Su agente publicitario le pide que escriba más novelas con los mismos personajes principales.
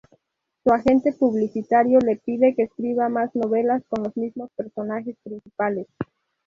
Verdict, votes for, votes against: accepted, 2, 0